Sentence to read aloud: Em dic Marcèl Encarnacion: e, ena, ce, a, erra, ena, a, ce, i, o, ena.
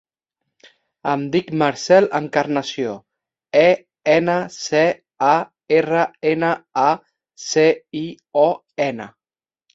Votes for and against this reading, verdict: 0, 2, rejected